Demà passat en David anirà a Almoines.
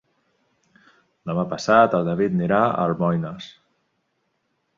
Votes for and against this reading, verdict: 0, 2, rejected